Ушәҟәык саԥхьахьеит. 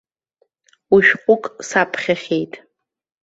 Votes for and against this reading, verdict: 2, 0, accepted